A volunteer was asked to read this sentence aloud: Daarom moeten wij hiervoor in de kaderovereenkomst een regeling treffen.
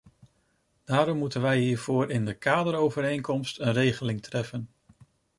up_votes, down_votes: 2, 0